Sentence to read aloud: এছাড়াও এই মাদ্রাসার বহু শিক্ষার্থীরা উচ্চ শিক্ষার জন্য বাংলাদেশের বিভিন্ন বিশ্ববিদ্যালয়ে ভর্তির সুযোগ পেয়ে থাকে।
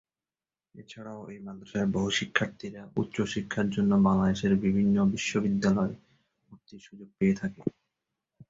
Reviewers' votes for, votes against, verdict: 1, 4, rejected